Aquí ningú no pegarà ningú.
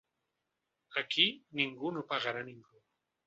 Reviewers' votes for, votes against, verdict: 2, 0, accepted